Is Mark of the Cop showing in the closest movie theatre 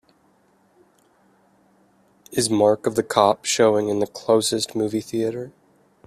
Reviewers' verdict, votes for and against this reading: accepted, 2, 0